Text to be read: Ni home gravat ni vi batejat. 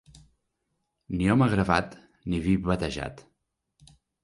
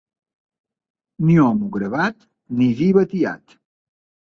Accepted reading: first